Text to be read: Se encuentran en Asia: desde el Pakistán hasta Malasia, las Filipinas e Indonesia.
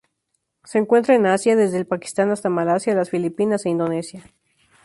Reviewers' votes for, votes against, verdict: 2, 0, accepted